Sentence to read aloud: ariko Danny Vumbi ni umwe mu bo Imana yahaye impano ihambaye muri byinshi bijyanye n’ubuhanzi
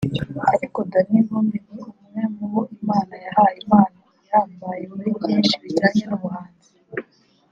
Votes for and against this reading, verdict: 0, 2, rejected